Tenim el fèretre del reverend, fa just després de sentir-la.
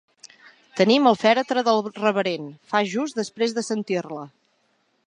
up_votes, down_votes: 2, 0